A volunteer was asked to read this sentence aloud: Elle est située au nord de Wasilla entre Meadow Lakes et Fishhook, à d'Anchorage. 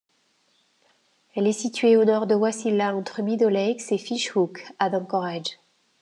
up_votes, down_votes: 2, 0